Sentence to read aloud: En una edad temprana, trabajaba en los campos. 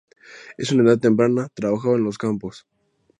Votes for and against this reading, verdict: 0, 2, rejected